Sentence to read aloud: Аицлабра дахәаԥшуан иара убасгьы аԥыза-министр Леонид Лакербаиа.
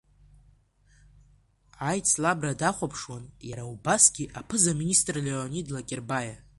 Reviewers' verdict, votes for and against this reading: accepted, 2, 0